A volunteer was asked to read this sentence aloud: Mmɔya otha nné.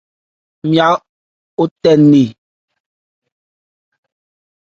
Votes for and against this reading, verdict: 0, 2, rejected